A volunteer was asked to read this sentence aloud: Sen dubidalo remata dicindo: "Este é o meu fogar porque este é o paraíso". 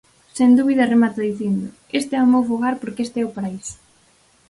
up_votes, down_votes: 0, 4